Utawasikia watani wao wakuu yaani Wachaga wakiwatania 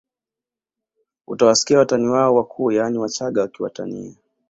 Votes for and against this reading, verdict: 2, 0, accepted